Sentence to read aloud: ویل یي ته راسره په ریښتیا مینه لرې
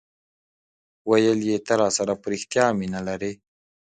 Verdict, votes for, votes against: rejected, 1, 2